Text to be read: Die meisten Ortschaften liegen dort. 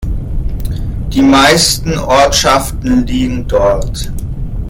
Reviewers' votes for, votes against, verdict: 1, 2, rejected